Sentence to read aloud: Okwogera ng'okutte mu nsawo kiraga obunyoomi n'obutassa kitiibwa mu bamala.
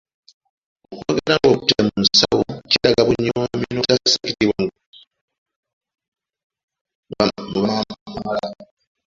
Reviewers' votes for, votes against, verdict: 0, 2, rejected